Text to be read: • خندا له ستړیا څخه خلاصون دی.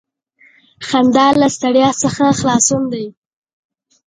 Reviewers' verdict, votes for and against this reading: accepted, 3, 0